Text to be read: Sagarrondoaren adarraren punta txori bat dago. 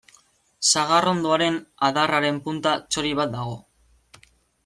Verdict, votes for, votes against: accepted, 2, 1